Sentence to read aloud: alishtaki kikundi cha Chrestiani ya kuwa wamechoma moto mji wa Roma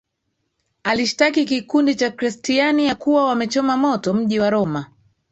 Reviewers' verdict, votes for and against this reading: accepted, 2, 1